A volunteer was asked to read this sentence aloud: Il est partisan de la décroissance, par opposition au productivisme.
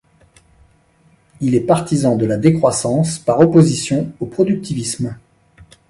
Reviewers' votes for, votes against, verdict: 2, 0, accepted